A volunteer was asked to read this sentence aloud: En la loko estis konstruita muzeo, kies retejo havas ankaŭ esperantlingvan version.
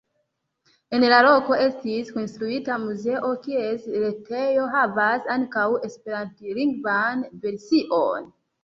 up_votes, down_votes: 2, 0